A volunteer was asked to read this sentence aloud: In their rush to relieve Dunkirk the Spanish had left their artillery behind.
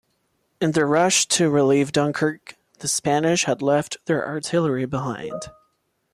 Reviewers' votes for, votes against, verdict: 2, 0, accepted